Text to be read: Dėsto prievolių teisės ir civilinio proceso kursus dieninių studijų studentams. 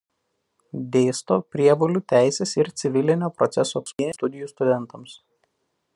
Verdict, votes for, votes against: rejected, 0, 2